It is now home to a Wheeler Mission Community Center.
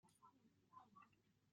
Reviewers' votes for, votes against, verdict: 1, 2, rejected